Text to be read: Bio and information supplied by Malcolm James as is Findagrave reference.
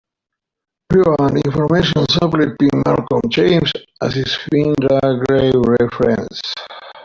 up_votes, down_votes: 1, 2